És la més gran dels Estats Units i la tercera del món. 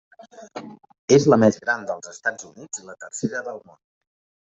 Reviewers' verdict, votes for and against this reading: rejected, 1, 2